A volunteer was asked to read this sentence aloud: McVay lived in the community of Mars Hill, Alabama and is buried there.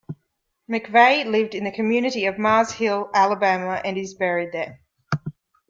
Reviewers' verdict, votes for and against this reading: accepted, 2, 0